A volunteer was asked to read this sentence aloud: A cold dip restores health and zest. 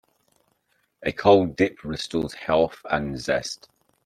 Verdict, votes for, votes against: accepted, 2, 0